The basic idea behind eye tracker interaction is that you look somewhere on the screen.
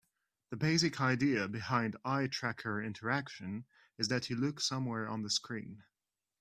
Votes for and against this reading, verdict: 2, 0, accepted